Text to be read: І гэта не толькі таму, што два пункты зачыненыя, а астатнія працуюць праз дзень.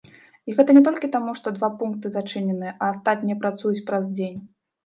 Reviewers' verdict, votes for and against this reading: accepted, 2, 0